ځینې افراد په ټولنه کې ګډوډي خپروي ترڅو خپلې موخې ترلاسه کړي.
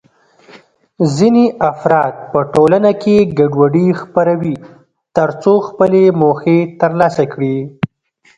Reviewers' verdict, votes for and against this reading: rejected, 1, 2